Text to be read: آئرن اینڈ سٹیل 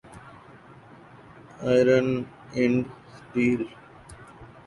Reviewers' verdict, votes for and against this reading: rejected, 0, 2